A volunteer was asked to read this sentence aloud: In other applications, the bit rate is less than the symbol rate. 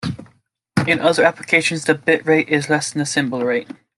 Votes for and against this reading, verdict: 2, 0, accepted